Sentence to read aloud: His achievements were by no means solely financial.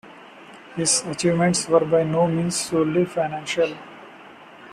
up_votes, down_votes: 2, 0